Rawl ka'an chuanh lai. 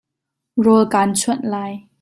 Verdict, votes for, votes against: accepted, 2, 0